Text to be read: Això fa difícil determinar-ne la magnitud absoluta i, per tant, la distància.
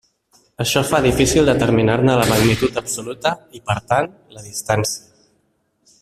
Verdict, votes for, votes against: rejected, 0, 2